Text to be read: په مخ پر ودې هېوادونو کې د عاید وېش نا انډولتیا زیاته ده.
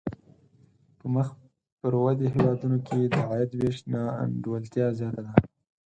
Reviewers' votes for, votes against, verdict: 4, 0, accepted